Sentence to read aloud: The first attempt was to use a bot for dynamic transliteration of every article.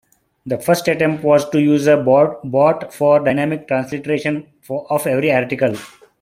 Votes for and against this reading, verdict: 0, 2, rejected